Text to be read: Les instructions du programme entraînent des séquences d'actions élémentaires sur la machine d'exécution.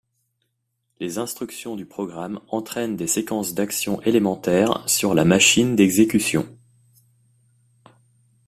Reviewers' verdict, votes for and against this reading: accepted, 2, 0